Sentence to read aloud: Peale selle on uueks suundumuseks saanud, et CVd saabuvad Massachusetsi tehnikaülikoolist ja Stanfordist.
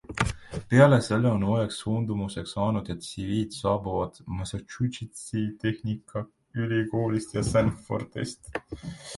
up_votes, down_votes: 0, 2